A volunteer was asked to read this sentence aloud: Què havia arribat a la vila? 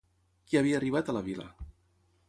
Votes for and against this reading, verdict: 3, 3, rejected